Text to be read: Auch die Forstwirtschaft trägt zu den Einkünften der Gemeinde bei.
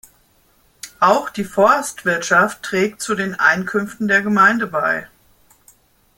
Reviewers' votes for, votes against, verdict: 2, 0, accepted